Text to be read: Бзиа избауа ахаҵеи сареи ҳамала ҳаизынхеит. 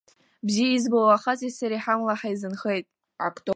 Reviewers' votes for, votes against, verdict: 2, 5, rejected